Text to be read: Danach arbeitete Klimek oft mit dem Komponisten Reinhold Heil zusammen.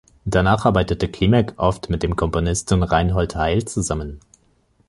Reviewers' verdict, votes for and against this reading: accepted, 3, 0